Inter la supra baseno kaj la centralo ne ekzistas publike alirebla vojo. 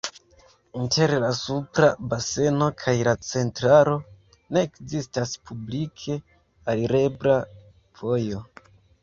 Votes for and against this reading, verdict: 2, 1, accepted